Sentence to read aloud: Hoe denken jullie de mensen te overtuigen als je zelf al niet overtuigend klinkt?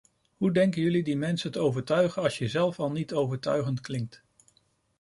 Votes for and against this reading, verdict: 1, 2, rejected